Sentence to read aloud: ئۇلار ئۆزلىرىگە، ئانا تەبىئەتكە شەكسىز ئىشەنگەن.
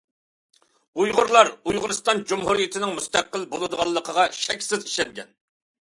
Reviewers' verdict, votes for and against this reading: rejected, 0, 2